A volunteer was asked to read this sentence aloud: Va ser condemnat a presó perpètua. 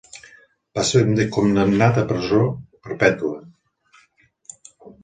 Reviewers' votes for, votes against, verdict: 1, 2, rejected